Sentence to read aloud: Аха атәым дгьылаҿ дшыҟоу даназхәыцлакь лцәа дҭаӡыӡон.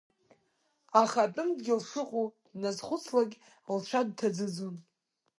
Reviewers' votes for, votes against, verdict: 1, 2, rejected